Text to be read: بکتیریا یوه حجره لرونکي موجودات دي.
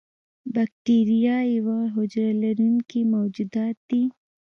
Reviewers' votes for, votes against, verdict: 1, 2, rejected